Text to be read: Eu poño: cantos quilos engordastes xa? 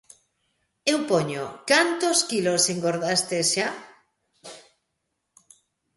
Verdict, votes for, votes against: accepted, 2, 0